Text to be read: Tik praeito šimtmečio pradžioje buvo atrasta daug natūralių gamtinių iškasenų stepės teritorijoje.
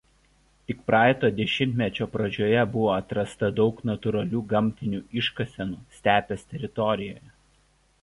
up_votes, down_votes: 1, 2